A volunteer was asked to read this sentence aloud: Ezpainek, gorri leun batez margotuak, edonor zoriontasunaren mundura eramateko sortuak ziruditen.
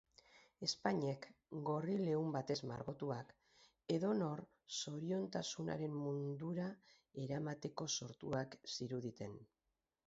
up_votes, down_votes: 2, 2